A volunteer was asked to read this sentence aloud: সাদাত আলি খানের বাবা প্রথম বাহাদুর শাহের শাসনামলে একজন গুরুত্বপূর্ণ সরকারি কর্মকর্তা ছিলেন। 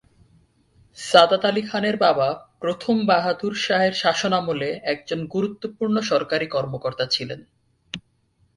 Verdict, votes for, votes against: accepted, 21, 2